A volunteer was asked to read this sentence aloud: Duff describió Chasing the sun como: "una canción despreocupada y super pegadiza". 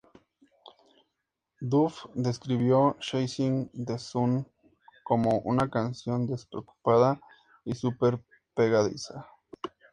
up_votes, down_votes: 2, 0